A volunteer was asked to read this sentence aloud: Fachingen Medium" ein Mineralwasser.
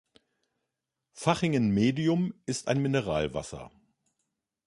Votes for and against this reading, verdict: 0, 2, rejected